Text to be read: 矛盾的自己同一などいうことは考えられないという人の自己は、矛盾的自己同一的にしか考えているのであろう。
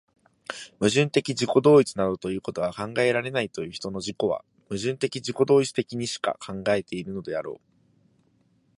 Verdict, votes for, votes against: accepted, 2, 0